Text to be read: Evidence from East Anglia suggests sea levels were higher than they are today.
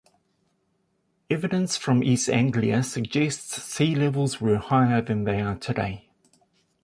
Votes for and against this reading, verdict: 2, 0, accepted